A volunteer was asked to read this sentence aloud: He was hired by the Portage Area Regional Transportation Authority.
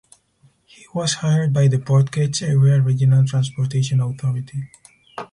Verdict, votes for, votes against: rejected, 2, 2